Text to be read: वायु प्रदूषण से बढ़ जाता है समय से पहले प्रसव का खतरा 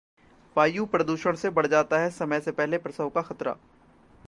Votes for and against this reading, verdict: 2, 0, accepted